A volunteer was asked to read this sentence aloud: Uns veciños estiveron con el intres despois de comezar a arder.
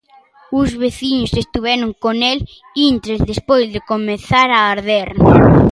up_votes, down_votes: 1, 2